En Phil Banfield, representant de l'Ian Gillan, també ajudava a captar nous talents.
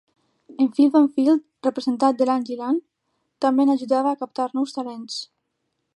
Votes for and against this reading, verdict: 0, 2, rejected